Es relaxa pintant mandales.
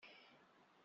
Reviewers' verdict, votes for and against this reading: rejected, 0, 2